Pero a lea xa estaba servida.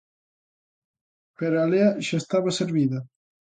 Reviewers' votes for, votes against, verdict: 3, 0, accepted